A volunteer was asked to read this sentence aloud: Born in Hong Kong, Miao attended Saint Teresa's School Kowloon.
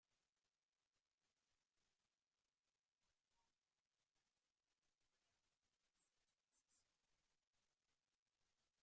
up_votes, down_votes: 0, 2